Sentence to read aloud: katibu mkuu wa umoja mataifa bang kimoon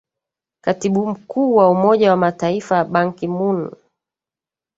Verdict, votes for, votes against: rejected, 2, 3